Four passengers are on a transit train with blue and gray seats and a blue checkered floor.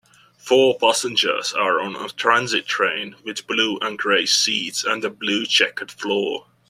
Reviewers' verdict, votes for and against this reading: rejected, 1, 2